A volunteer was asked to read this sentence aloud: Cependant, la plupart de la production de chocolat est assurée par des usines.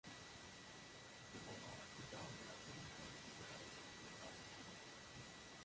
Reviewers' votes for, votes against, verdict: 1, 2, rejected